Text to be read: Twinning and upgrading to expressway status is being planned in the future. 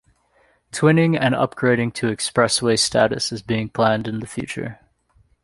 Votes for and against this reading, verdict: 2, 0, accepted